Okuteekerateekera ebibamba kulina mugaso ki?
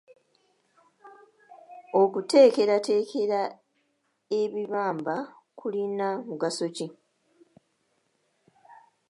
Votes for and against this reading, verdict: 1, 2, rejected